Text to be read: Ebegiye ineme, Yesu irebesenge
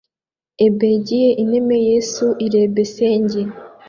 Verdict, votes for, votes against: accepted, 2, 1